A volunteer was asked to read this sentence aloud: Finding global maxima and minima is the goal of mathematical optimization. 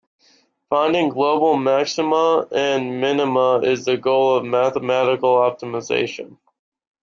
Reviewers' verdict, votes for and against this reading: accepted, 2, 0